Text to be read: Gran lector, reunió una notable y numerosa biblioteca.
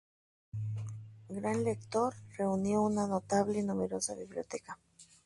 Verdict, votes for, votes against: rejected, 0, 2